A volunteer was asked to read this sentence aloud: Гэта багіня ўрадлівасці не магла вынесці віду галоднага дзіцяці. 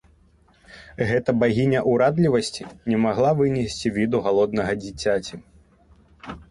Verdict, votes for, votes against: rejected, 1, 2